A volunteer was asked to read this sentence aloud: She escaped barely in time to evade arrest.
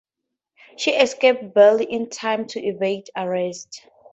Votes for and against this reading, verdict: 2, 0, accepted